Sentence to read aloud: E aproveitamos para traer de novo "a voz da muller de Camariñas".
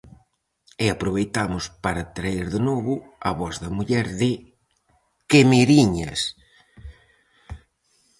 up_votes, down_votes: 0, 4